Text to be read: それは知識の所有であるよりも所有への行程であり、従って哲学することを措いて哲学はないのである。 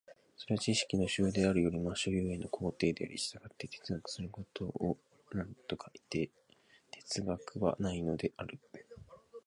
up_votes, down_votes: 0, 2